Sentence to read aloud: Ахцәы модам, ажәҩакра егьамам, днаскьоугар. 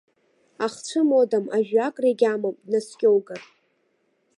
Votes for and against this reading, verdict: 2, 0, accepted